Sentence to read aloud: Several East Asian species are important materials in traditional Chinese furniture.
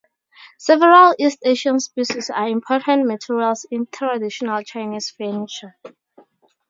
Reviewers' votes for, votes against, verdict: 4, 0, accepted